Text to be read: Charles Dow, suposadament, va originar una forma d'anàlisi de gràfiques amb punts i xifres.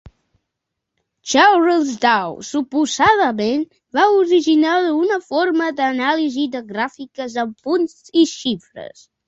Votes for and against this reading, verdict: 3, 0, accepted